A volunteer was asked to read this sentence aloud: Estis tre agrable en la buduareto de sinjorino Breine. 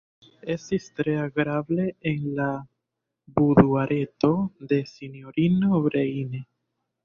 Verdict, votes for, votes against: accepted, 2, 0